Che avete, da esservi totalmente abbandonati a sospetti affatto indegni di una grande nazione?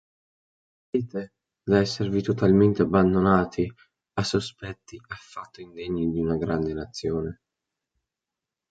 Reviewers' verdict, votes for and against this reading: rejected, 0, 2